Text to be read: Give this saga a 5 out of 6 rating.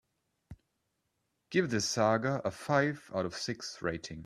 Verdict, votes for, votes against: rejected, 0, 2